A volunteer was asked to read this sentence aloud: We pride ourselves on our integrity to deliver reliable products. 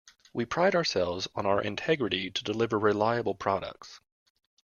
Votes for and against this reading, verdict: 2, 0, accepted